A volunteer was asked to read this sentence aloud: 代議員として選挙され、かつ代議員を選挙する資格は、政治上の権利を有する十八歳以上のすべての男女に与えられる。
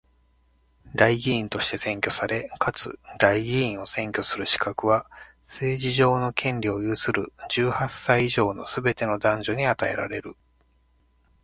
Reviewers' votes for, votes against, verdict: 2, 0, accepted